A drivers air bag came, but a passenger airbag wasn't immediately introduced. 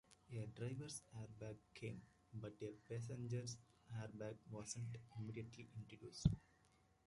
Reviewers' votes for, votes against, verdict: 0, 2, rejected